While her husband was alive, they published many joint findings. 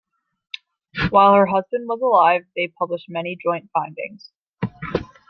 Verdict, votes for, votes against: accepted, 2, 0